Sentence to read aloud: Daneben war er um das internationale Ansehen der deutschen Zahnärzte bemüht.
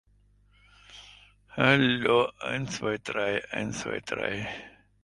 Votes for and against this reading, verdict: 0, 2, rejected